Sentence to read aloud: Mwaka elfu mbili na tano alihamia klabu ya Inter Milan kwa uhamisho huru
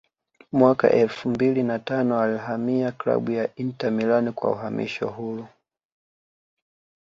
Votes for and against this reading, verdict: 1, 2, rejected